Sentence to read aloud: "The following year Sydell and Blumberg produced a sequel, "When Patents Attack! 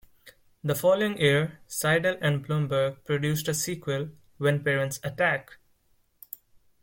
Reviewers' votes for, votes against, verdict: 1, 2, rejected